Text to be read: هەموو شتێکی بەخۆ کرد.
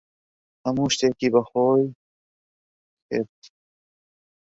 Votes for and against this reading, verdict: 0, 2, rejected